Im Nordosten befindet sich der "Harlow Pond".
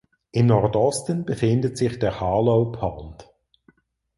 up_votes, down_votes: 4, 0